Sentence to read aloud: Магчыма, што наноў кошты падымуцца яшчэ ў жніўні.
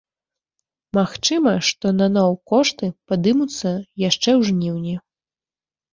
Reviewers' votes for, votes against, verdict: 2, 0, accepted